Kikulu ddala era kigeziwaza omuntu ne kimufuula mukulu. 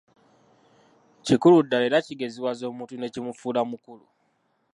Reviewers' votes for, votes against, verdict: 0, 2, rejected